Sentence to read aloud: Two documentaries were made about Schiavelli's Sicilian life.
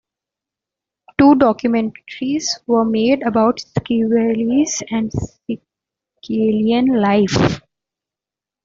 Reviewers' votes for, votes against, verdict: 0, 2, rejected